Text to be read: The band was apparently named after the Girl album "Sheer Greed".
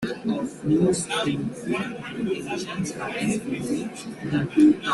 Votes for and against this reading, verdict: 0, 2, rejected